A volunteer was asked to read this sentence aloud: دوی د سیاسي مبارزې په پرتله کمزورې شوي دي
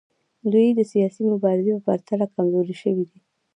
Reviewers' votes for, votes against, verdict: 0, 2, rejected